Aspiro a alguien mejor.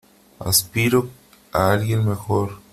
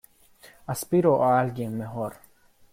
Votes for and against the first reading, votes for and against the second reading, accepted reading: 3, 0, 1, 2, first